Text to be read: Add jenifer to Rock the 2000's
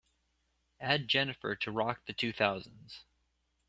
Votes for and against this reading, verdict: 0, 2, rejected